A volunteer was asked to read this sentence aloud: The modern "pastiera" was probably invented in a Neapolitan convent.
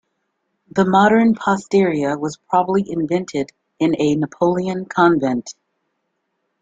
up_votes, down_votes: 1, 2